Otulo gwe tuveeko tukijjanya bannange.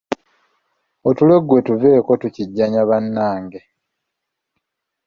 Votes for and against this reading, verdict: 2, 1, accepted